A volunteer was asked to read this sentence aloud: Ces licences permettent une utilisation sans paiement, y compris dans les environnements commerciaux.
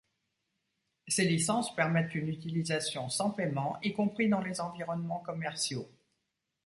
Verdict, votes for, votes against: accepted, 2, 0